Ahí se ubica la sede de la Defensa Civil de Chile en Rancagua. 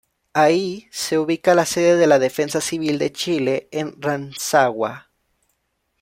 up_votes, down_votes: 1, 2